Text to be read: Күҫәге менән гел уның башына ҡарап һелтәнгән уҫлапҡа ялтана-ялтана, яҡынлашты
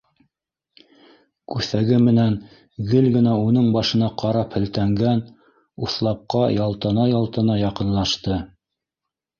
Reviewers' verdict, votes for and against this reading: rejected, 1, 2